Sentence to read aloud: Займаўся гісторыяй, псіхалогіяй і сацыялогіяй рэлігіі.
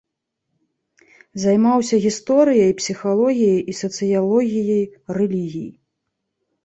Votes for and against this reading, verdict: 2, 0, accepted